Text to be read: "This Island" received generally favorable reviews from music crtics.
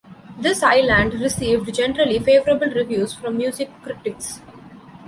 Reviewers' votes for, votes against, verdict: 1, 2, rejected